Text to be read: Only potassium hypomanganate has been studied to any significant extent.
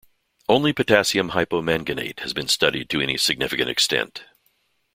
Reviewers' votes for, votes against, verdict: 3, 0, accepted